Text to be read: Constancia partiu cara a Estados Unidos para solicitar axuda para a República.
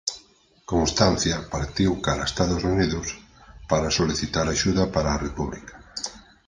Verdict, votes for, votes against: accepted, 6, 0